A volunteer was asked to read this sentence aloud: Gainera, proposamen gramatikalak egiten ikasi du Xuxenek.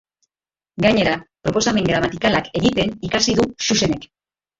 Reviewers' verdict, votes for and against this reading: rejected, 2, 3